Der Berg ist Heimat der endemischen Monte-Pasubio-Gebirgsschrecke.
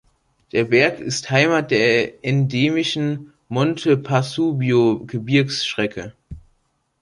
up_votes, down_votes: 1, 2